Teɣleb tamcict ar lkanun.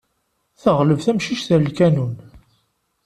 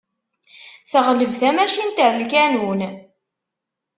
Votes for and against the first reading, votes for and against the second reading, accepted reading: 2, 0, 0, 2, first